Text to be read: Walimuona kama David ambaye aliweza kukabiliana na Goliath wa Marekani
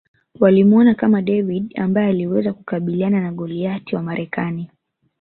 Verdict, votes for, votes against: accepted, 3, 0